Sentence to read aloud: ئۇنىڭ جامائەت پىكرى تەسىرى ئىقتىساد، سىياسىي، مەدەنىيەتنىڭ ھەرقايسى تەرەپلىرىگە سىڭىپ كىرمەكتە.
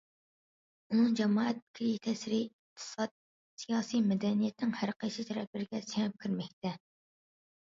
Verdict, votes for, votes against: rejected, 0, 2